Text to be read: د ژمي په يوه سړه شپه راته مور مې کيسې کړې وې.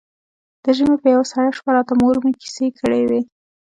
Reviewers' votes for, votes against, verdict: 2, 0, accepted